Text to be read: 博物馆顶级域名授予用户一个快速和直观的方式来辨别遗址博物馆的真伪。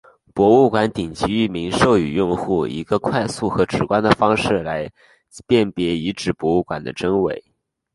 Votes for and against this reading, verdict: 1, 2, rejected